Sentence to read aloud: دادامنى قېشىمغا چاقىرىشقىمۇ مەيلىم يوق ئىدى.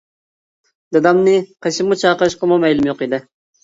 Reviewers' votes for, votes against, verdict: 2, 1, accepted